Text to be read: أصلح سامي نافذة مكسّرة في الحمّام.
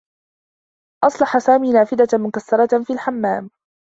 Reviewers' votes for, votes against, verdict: 2, 0, accepted